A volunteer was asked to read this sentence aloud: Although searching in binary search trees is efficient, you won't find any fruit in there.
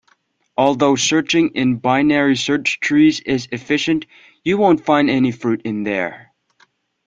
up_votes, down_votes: 2, 0